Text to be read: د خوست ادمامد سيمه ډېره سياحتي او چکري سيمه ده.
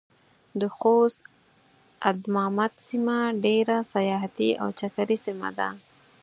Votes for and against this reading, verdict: 4, 0, accepted